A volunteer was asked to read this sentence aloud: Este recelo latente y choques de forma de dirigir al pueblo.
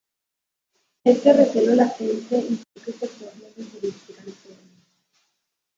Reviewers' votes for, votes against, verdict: 0, 2, rejected